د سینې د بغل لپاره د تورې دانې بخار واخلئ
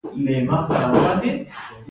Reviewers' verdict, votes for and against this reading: rejected, 1, 2